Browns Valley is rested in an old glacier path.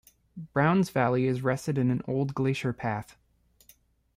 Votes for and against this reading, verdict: 0, 2, rejected